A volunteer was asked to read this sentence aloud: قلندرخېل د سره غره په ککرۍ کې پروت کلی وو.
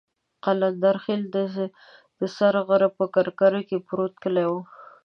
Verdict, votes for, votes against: rejected, 1, 2